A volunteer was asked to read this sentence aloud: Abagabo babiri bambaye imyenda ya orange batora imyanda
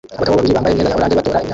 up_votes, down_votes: 0, 2